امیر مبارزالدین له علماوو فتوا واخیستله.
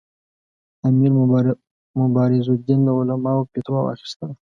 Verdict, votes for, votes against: accepted, 2, 0